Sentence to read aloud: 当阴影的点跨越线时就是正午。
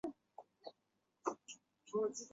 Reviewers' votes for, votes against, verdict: 2, 4, rejected